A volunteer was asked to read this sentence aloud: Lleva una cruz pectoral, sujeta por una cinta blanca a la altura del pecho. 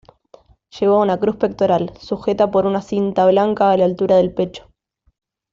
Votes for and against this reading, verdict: 2, 0, accepted